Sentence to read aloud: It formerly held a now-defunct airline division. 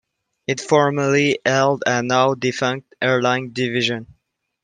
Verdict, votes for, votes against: rejected, 1, 2